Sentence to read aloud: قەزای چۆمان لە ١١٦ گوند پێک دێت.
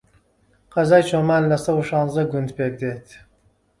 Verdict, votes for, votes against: rejected, 0, 2